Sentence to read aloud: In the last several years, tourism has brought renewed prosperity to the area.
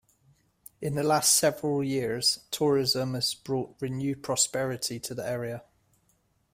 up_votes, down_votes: 2, 0